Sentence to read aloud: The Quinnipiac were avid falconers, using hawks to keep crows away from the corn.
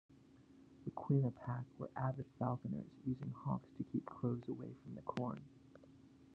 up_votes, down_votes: 2, 0